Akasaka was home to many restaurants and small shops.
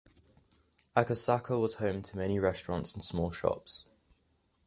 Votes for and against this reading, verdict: 2, 0, accepted